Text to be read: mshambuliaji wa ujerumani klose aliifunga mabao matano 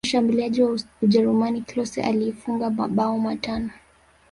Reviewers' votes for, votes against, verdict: 1, 2, rejected